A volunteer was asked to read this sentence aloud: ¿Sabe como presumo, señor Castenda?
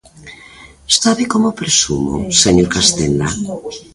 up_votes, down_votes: 0, 2